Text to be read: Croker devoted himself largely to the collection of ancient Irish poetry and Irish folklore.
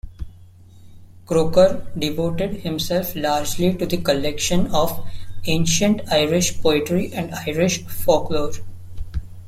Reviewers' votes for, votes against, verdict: 2, 0, accepted